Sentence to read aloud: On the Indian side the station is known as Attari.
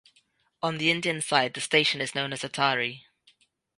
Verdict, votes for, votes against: accepted, 2, 0